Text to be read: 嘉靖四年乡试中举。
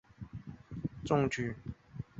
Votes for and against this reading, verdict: 0, 6, rejected